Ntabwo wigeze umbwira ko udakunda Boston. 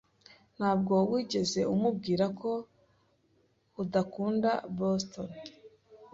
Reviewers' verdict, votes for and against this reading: rejected, 1, 2